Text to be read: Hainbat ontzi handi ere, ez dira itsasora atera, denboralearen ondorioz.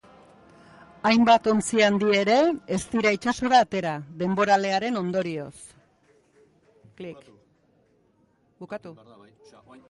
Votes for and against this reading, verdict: 1, 2, rejected